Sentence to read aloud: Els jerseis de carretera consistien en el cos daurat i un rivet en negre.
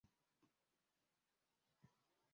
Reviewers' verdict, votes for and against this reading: rejected, 0, 2